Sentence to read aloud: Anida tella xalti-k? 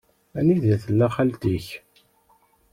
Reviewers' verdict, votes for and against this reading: accepted, 2, 0